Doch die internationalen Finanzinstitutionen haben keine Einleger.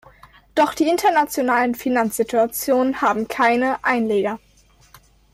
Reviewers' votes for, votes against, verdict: 0, 2, rejected